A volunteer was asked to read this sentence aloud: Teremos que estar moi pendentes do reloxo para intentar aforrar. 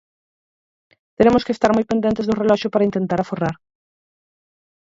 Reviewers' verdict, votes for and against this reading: accepted, 4, 2